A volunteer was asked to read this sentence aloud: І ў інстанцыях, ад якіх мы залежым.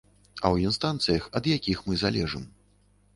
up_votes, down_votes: 0, 2